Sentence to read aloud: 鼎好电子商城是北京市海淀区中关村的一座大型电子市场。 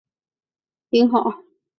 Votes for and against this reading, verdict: 1, 3, rejected